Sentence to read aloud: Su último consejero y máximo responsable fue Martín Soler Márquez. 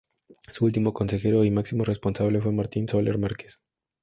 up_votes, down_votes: 2, 0